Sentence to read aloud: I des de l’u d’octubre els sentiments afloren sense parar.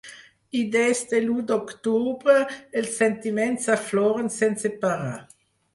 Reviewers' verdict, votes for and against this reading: accepted, 6, 0